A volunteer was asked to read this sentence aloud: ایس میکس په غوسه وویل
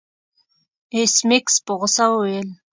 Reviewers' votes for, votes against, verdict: 2, 0, accepted